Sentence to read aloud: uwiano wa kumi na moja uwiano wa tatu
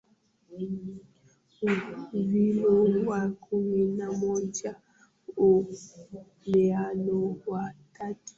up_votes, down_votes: 0, 2